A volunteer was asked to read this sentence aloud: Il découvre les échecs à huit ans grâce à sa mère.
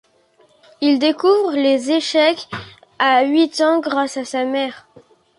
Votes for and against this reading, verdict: 2, 1, accepted